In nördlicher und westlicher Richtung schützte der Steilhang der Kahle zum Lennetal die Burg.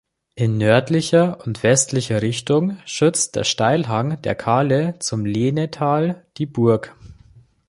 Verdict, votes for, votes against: rejected, 1, 2